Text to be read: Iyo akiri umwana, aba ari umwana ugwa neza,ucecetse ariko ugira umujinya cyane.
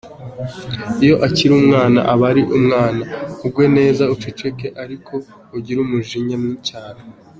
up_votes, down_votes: 0, 3